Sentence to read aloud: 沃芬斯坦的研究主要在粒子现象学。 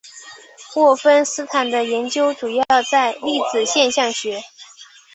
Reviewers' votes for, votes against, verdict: 4, 0, accepted